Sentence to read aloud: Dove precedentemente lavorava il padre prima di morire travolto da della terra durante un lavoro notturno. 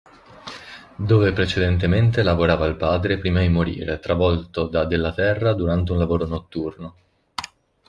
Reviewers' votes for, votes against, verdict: 2, 0, accepted